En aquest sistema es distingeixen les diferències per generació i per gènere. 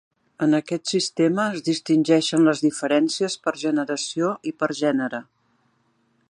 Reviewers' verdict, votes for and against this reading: accepted, 3, 0